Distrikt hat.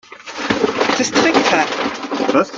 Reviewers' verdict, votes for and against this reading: rejected, 0, 2